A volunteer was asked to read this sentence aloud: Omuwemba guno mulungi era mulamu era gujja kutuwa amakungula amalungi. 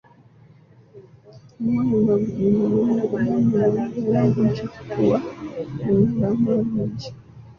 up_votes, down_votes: 0, 2